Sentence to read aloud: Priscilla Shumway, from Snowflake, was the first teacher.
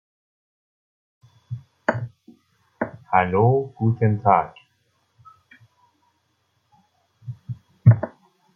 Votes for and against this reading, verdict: 0, 2, rejected